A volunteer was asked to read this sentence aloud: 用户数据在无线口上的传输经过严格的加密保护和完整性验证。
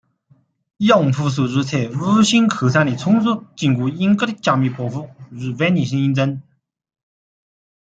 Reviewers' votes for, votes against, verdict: 0, 2, rejected